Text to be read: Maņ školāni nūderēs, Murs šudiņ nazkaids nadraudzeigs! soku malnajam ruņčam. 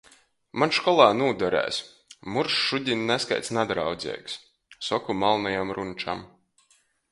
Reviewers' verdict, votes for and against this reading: rejected, 1, 2